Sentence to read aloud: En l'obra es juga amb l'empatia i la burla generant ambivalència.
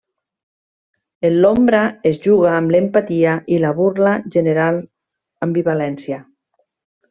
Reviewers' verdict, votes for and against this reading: rejected, 1, 2